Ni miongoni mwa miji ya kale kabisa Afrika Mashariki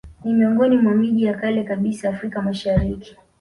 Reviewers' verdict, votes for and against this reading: accepted, 2, 0